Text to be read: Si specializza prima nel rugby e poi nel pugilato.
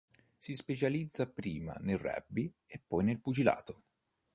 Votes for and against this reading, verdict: 2, 0, accepted